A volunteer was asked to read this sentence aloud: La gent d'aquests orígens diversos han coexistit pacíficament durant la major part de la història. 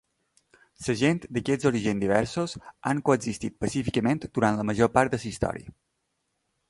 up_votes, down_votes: 0, 2